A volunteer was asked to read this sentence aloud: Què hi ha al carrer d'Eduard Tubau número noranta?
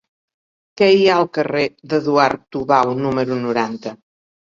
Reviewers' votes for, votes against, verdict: 3, 1, accepted